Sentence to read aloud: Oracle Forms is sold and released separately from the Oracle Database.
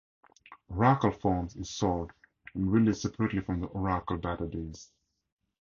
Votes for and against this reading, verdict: 4, 0, accepted